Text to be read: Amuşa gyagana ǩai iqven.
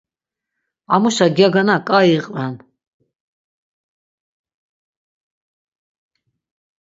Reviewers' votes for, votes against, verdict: 6, 0, accepted